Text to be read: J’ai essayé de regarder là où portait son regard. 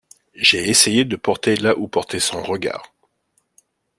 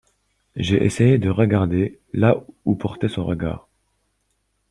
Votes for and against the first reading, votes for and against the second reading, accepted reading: 0, 2, 2, 0, second